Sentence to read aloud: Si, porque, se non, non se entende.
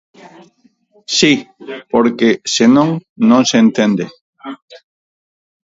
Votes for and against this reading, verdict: 4, 2, accepted